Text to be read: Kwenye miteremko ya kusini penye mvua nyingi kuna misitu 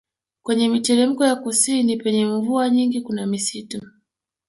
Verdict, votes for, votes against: rejected, 1, 2